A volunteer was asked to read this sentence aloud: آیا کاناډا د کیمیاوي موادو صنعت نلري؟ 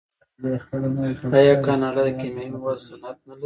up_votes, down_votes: 1, 2